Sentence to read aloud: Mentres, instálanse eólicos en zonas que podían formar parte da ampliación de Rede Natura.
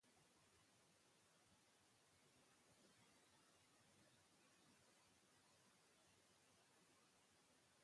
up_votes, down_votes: 0, 2